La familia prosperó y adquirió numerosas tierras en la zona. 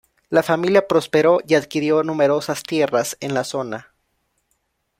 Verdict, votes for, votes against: accepted, 2, 0